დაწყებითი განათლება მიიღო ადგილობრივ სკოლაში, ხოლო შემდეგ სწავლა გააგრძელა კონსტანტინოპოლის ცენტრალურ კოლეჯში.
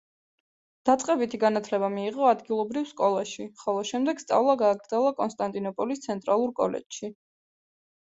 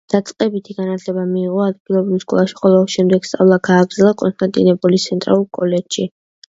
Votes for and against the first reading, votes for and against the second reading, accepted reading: 2, 0, 0, 2, first